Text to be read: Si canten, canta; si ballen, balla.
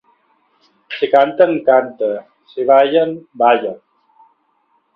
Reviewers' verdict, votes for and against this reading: accepted, 2, 0